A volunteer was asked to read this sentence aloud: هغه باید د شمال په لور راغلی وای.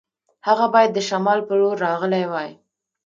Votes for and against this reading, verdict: 1, 2, rejected